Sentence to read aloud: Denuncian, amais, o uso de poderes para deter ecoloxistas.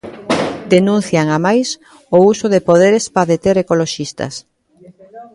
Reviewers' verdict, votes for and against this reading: rejected, 0, 2